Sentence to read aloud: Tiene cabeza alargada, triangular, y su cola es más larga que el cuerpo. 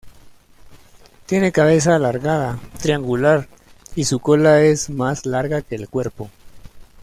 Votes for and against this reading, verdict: 2, 0, accepted